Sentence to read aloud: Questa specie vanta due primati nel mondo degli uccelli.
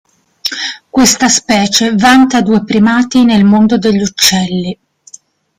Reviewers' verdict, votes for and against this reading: accepted, 2, 0